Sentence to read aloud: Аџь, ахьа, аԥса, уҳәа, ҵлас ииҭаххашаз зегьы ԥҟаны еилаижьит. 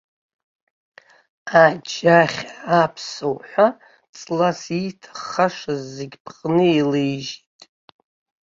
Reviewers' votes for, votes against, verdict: 1, 2, rejected